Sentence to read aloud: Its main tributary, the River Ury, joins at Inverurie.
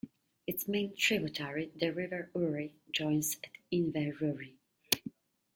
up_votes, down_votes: 2, 0